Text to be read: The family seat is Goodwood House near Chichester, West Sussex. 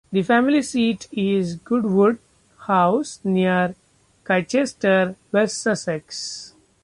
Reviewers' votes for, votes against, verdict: 0, 2, rejected